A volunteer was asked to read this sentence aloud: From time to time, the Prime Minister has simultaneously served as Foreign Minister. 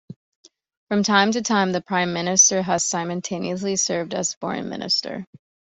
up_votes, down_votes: 2, 0